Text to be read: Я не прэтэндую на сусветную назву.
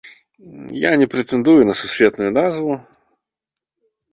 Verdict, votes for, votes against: rejected, 0, 2